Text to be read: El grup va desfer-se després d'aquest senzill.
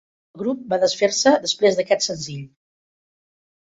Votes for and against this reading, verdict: 2, 4, rejected